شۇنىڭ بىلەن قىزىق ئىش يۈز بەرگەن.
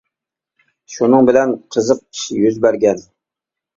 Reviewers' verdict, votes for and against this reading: accepted, 2, 0